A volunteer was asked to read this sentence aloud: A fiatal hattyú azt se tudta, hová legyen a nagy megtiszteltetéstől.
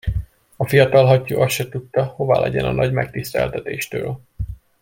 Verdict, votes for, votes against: accepted, 2, 0